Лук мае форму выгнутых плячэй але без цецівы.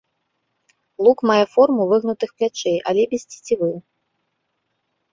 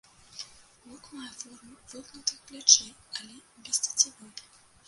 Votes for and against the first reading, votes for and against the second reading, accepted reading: 3, 0, 0, 2, first